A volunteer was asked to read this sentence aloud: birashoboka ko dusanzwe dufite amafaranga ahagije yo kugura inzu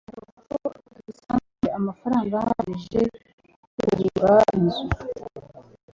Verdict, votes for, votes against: accepted, 2, 0